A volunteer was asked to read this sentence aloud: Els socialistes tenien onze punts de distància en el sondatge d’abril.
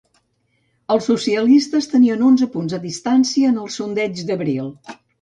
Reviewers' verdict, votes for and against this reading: rejected, 0, 2